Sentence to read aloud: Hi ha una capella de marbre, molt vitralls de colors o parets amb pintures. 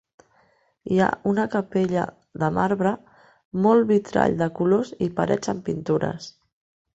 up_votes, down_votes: 1, 3